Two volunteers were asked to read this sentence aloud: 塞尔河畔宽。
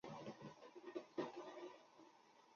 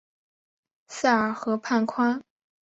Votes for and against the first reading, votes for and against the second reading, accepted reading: 0, 4, 4, 0, second